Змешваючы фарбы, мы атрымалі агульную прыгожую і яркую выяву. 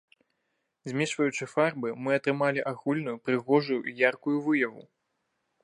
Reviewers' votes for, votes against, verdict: 0, 2, rejected